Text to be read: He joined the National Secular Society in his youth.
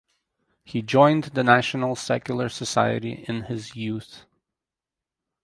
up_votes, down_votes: 4, 0